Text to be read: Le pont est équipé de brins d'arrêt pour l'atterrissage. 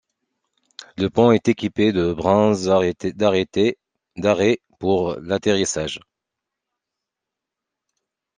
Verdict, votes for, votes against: rejected, 1, 2